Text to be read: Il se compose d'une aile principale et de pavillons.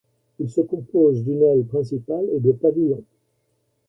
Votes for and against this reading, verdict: 0, 2, rejected